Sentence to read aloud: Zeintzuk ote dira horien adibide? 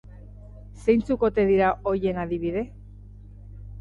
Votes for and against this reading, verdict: 2, 1, accepted